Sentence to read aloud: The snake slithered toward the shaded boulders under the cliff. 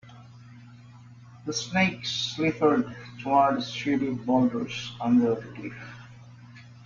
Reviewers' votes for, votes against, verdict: 1, 2, rejected